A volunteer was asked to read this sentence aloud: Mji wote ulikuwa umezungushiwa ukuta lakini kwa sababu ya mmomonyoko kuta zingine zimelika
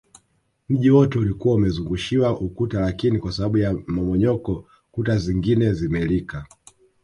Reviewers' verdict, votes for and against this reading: rejected, 0, 2